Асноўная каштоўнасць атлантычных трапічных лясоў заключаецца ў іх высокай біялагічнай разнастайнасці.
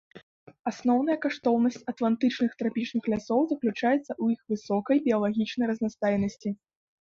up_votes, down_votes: 2, 0